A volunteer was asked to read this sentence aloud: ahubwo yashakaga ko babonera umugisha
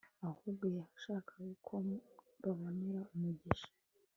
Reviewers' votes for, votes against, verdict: 1, 2, rejected